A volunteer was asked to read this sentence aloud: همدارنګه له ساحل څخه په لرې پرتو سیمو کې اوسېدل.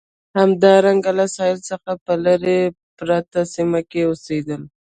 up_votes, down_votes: 0, 2